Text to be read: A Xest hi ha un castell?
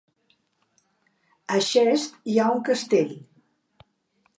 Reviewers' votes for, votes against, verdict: 1, 2, rejected